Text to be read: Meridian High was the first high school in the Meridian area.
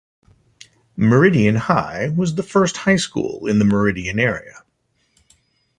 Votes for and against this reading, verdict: 2, 0, accepted